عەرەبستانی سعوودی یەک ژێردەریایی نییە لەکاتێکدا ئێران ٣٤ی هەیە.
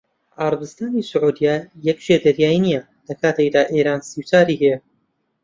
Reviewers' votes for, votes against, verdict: 0, 2, rejected